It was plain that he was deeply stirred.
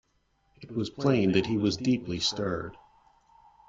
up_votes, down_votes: 2, 0